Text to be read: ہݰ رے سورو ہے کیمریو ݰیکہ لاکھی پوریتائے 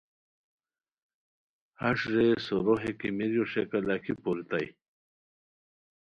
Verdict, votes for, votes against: accepted, 2, 0